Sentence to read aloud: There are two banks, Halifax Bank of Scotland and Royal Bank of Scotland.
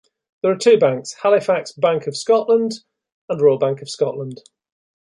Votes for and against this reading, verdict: 2, 0, accepted